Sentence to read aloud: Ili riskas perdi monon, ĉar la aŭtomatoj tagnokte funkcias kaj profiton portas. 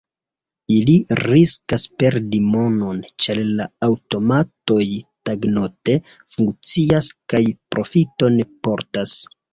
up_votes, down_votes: 1, 2